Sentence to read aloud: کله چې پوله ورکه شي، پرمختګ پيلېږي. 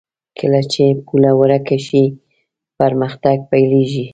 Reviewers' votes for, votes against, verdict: 2, 0, accepted